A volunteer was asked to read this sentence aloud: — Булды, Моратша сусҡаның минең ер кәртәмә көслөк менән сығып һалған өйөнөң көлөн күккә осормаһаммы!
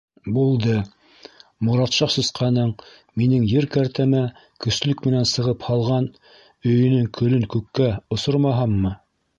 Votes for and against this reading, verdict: 1, 2, rejected